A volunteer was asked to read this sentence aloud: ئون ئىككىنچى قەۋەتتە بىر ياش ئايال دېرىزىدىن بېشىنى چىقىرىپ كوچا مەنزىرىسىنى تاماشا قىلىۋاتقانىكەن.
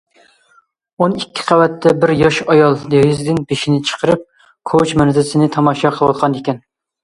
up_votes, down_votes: 1, 2